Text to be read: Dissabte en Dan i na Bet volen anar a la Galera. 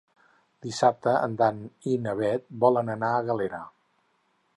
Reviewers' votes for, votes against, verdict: 2, 4, rejected